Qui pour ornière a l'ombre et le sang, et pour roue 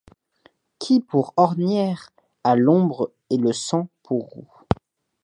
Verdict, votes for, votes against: rejected, 1, 2